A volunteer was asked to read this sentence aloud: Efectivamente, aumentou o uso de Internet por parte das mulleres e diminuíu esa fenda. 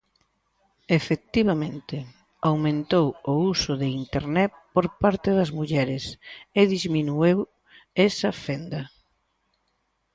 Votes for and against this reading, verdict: 0, 2, rejected